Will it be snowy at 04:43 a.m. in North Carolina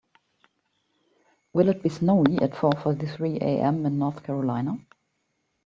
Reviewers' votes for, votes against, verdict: 0, 2, rejected